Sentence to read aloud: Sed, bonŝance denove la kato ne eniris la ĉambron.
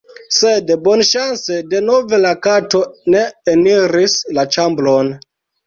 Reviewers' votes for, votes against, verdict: 2, 0, accepted